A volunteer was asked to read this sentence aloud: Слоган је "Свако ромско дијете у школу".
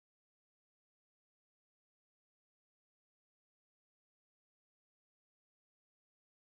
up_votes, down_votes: 0, 2